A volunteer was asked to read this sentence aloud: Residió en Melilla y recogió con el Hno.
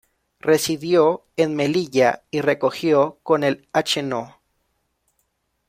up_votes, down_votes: 2, 0